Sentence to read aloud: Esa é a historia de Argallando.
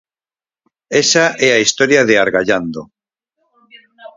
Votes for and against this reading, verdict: 4, 0, accepted